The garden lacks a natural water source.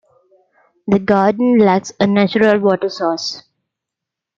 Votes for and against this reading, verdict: 2, 0, accepted